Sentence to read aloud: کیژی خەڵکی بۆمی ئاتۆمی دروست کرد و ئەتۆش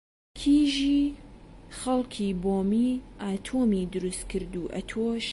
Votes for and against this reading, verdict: 2, 0, accepted